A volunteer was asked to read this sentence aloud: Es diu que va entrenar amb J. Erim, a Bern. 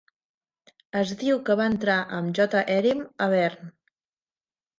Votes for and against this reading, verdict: 1, 2, rejected